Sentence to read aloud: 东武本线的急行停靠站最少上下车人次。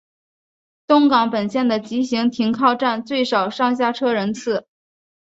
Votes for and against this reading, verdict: 0, 3, rejected